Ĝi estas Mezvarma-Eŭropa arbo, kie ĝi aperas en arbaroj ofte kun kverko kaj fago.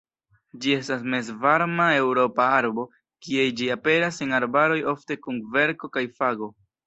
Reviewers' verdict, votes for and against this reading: accepted, 2, 0